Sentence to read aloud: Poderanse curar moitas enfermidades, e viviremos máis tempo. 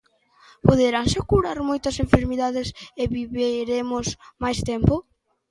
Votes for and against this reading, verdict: 1, 2, rejected